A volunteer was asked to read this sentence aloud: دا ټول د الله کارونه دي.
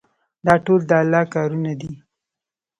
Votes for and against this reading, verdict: 1, 2, rejected